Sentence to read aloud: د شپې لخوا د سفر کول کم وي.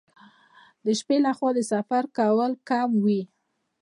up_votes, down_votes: 0, 2